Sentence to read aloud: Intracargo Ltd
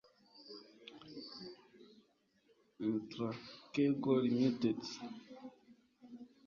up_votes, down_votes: 2, 3